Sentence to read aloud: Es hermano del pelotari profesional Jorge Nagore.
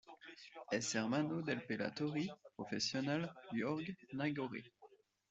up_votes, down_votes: 1, 2